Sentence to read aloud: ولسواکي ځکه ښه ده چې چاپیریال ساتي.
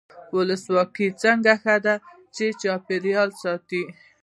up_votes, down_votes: 1, 2